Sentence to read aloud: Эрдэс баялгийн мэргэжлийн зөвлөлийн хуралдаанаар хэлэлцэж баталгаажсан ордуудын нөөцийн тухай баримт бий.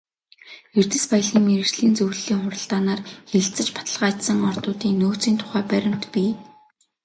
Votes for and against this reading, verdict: 2, 0, accepted